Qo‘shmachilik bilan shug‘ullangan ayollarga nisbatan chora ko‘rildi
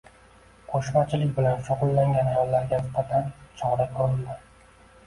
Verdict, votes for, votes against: rejected, 0, 2